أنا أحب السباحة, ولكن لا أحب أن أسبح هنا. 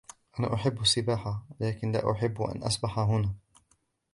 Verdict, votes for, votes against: accepted, 2, 0